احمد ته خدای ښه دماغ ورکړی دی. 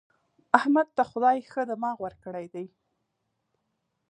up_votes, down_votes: 2, 0